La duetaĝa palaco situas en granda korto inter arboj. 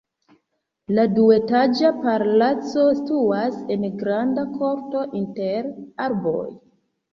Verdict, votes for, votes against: rejected, 0, 2